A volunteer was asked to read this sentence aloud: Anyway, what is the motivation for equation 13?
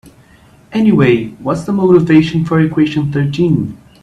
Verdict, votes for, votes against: rejected, 0, 2